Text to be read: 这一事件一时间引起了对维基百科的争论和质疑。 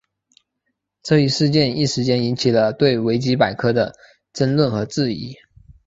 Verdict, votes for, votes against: accepted, 2, 0